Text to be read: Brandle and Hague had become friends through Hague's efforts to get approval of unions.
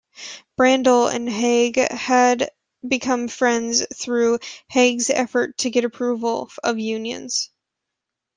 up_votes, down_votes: 2, 1